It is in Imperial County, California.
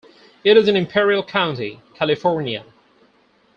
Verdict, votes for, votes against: accepted, 4, 0